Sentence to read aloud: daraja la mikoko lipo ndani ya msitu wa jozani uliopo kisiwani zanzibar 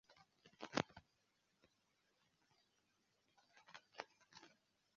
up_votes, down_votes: 1, 2